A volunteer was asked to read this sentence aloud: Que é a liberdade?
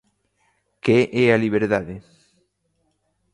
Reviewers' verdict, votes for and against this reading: accepted, 2, 0